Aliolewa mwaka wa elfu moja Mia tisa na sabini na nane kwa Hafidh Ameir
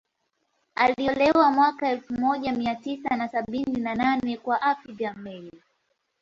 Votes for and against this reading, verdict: 2, 0, accepted